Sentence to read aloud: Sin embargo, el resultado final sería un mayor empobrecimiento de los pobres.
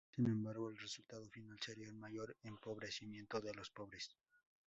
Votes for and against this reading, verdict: 0, 2, rejected